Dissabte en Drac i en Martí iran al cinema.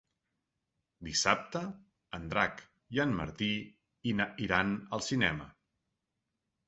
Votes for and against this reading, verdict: 1, 3, rejected